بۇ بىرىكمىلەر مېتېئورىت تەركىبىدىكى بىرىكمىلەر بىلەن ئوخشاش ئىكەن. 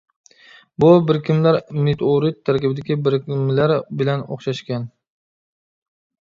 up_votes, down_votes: 0, 2